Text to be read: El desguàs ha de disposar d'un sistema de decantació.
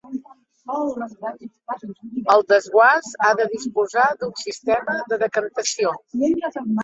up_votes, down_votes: 0, 2